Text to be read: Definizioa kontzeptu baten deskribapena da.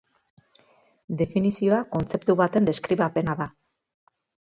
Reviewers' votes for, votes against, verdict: 3, 0, accepted